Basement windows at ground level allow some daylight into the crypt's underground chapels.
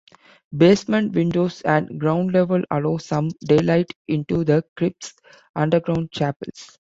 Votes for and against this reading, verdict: 2, 0, accepted